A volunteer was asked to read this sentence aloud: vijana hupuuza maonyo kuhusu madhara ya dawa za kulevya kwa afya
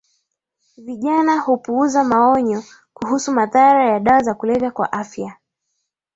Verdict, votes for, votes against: accepted, 17, 2